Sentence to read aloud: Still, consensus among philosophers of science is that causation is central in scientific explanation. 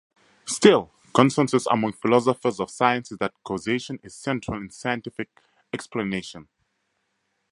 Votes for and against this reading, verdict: 0, 2, rejected